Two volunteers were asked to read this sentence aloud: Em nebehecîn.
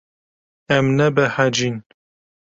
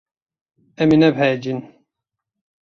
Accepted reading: first